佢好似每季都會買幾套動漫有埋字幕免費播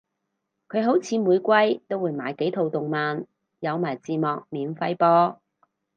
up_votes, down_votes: 4, 0